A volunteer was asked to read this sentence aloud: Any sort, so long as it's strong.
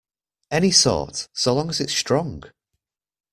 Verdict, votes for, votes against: accepted, 2, 0